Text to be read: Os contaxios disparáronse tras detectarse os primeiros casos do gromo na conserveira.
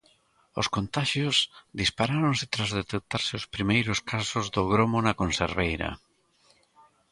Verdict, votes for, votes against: accepted, 2, 0